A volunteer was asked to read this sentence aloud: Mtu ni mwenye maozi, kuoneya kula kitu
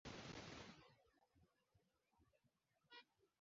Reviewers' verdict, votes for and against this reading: rejected, 0, 2